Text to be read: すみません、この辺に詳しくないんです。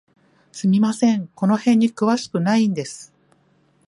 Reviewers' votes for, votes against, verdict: 2, 0, accepted